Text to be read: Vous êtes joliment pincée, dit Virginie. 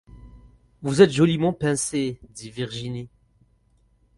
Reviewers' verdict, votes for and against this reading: accepted, 4, 0